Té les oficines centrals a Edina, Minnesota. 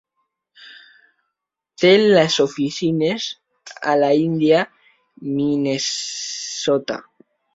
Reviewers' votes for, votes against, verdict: 0, 2, rejected